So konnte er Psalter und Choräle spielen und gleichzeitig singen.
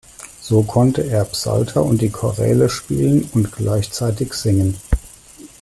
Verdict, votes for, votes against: rejected, 1, 2